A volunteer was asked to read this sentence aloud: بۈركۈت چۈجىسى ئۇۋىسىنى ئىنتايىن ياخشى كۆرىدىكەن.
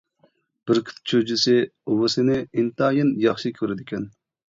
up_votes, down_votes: 2, 0